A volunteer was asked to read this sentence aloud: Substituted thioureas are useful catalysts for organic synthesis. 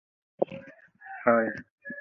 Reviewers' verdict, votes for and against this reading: rejected, 0, 2